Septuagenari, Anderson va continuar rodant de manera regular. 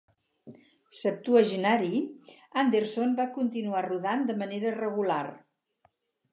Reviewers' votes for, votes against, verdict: 2, 0, accepted